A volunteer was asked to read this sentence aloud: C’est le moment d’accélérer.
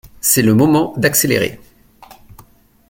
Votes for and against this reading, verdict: 2, 0, accepted